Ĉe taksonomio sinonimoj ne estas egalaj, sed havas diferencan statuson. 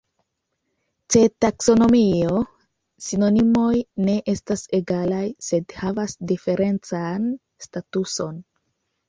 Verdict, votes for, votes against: rejected, 1, 2